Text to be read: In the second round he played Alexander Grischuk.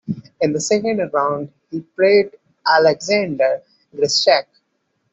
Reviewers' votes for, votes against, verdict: 2, 0, accepted